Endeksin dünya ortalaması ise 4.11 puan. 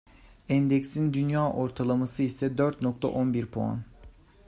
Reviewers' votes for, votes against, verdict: 0, 2, rejected